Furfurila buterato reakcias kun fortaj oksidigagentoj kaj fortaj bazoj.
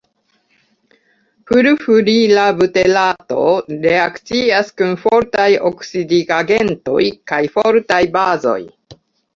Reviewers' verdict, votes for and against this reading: rejected, 1, 2